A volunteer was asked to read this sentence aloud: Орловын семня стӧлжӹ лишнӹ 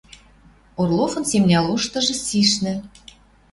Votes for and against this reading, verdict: 0, 2, rejected